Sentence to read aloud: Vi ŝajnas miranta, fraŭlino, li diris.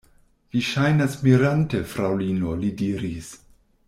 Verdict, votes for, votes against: rejected, 1, 2